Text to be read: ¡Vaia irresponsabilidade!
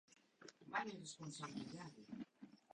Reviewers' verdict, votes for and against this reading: rejected, 0, 2